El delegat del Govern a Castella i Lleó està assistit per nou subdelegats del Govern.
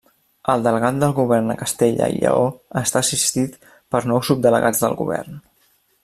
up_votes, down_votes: 2, 0